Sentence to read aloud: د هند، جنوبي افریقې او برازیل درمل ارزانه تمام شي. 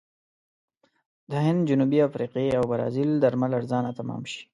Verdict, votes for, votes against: accepted, 6, 0